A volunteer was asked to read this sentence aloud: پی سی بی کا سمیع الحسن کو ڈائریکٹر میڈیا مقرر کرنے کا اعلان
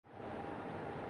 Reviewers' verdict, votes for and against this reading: accepted, 5, 4